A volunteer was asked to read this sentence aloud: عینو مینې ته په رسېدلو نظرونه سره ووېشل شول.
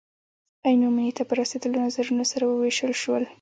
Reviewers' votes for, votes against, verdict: 2, 1, accepted